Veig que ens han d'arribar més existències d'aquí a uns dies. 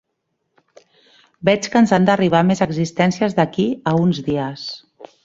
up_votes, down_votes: 3, 0